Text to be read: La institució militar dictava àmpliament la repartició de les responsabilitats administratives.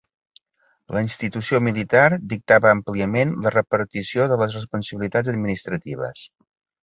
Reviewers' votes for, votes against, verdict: 2, 0, accepted